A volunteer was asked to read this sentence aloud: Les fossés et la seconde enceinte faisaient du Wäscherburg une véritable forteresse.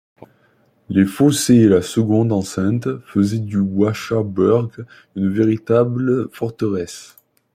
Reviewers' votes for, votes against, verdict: 1, 2, rejected